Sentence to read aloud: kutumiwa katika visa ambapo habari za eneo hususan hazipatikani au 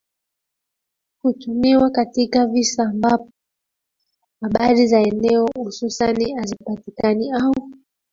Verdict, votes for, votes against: accepted, 2, 1